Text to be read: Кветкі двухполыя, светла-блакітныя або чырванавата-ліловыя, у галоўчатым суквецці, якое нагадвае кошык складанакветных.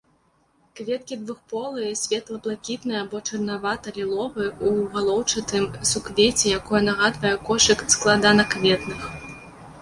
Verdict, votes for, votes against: rejected, 0, 2